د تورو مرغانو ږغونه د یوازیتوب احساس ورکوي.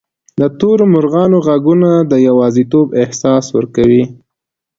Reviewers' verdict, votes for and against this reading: accepted, 2, 0